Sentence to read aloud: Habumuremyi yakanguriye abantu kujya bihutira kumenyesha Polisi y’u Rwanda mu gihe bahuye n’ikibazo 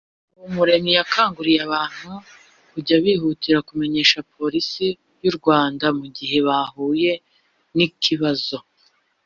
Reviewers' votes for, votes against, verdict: 0, 2, rejected